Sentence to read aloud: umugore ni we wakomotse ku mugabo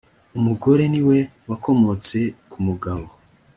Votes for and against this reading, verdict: 3, 0, accepted